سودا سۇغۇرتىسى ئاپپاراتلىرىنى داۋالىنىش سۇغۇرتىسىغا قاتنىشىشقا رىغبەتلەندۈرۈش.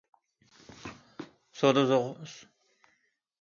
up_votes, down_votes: 0, 2